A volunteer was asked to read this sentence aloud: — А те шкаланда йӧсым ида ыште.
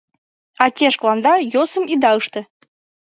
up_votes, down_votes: 0, 2